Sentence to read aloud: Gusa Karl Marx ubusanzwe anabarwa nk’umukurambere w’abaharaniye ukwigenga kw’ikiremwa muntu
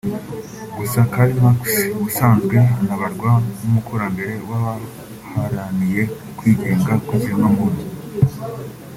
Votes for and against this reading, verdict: 2, 0, accepted